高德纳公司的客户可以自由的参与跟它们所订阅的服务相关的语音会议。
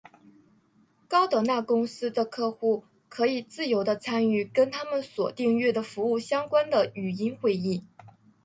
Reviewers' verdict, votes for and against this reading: rejected, 1, 2